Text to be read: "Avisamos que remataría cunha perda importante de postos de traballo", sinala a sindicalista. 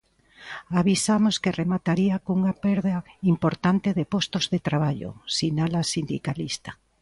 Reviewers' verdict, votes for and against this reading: accepted, 2, 0